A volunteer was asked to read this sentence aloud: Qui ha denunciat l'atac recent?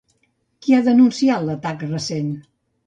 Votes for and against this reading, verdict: 2, 0, accepted